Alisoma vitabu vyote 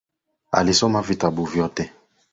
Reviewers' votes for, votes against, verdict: 2, 0, accepted